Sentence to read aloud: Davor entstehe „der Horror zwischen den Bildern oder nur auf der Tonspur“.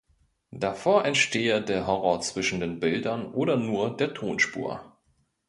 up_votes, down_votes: 0, 2